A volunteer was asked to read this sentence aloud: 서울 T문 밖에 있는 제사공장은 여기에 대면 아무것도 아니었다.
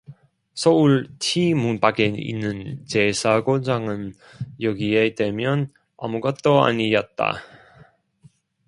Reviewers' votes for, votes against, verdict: 0, 2, rejected